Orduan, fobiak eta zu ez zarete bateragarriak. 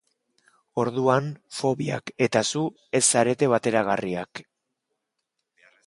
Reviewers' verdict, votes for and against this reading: accepted, 2, 0